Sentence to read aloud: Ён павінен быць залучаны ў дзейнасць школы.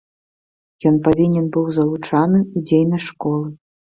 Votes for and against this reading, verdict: 1, 2, rejected